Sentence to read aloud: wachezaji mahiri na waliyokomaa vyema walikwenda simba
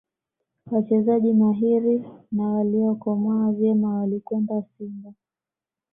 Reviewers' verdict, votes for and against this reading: accepted, 2, 0